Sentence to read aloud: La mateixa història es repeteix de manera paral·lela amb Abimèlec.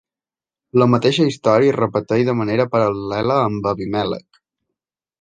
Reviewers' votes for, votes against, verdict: 2, 0, accepted